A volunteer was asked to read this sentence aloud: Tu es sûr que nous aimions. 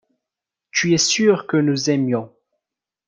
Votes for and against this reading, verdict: 2, 0, accepted